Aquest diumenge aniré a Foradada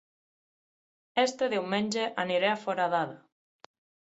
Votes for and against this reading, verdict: 3, 6, rejected